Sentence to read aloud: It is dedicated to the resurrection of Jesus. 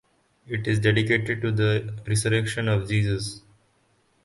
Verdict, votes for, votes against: rejected, 0, 4